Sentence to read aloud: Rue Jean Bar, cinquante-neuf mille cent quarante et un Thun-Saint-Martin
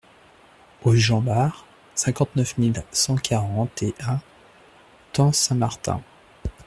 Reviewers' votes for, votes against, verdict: 2, 0, accepted